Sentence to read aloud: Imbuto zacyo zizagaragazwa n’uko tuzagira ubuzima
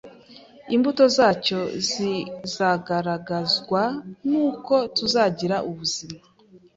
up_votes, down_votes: 2, 0